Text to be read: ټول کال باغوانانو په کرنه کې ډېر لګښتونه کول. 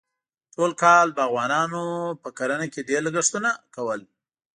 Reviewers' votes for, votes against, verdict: 2, 0, accepted